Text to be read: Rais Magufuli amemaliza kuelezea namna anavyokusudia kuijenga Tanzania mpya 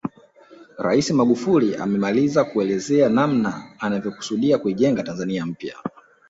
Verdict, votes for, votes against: rejected, 1, 2